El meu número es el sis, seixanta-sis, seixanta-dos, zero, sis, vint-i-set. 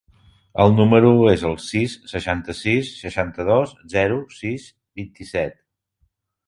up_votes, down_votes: 2, 3